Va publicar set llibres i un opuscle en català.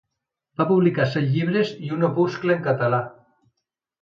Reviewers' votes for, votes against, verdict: 2, 0, accepted